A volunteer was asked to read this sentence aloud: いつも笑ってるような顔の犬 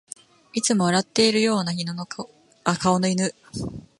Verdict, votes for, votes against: rejected, 0, 2